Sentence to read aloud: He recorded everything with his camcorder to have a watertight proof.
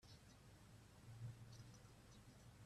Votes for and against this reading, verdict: 0, 2, rejected